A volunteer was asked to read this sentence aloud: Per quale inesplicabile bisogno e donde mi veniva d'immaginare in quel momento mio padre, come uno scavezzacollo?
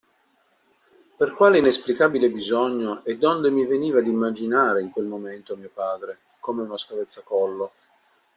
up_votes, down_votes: 2, 0